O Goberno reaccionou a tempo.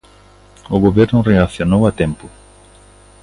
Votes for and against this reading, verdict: 2, 1, accepted